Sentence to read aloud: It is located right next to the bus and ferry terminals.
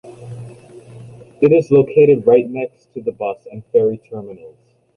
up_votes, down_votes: 2, 0